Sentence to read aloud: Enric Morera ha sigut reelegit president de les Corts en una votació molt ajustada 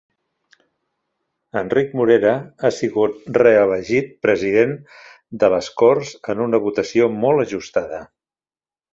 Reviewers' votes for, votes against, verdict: 2, 0, accepted